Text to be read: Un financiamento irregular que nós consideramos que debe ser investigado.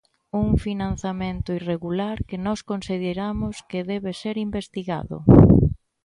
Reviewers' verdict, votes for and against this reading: rejected, 0, 2